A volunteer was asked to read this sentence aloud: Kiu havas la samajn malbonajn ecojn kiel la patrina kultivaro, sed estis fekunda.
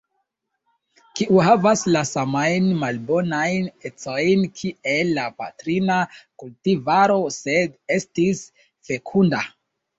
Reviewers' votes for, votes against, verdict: 2, 0, accepted